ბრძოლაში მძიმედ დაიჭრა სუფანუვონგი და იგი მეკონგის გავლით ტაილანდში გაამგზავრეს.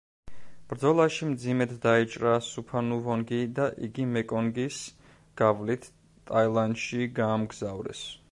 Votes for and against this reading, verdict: 1, 2, rejected